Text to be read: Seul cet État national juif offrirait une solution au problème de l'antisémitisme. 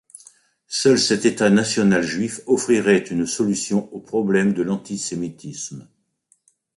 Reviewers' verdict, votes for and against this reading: rejected, 0, 2